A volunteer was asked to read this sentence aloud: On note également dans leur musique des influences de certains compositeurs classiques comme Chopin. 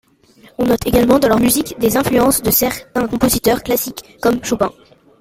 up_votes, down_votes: 2, 1